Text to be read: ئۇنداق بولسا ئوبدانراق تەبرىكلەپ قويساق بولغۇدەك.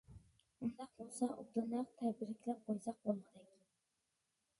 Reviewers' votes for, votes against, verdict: 1, 2, rejected